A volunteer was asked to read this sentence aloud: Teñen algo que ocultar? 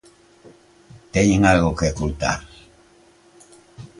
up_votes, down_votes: 2, 0